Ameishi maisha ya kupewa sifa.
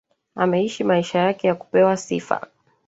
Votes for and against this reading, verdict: 1, 2, rejected